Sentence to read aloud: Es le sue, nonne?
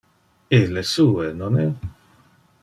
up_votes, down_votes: 1, 2